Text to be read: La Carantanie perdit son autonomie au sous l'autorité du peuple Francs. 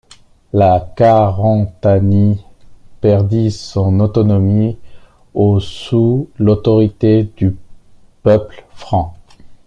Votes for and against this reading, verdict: 0, 2, rejected